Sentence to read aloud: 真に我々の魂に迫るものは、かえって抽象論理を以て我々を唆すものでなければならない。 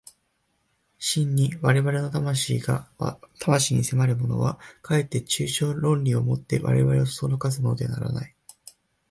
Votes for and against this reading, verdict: 0, 2, rejected